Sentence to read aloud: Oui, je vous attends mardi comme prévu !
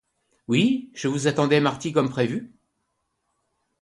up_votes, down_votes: 0, 2